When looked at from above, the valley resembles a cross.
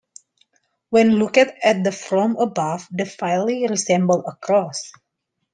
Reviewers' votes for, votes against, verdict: 0, 2, rejected